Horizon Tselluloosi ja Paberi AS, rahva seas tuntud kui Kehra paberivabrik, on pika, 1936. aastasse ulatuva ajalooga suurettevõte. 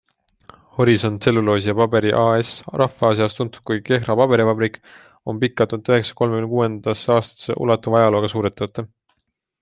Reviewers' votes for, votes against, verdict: 0, 2, rejected